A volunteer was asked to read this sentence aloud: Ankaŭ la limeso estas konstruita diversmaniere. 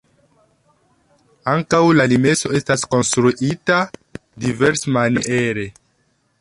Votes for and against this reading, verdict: 0, 2, rejected